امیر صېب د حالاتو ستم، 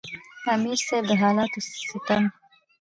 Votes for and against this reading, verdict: 1, 3, rejected